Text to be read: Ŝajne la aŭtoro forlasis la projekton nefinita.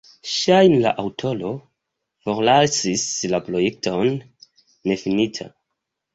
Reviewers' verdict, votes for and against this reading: rejected, 0, 3